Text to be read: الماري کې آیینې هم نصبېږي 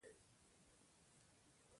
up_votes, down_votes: 0, 2